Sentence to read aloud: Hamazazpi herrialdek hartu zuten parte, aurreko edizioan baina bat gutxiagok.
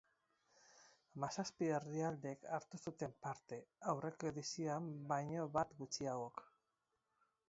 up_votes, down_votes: 4, 2